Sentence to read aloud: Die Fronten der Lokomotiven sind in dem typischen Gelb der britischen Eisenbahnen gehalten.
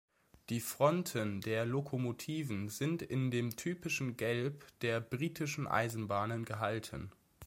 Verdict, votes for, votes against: accepted, 3, 1